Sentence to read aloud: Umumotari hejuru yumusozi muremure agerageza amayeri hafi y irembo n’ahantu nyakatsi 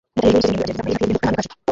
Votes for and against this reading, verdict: 0, 2, rejected